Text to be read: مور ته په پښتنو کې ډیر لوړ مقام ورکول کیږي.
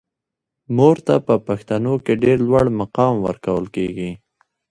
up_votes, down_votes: 0, 2